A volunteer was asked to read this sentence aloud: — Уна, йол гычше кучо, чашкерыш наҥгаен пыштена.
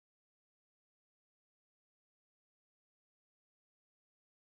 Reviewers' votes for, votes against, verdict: 1, 2, rejected